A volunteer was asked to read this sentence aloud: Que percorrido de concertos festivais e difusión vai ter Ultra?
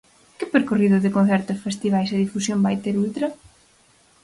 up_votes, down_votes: 4, 0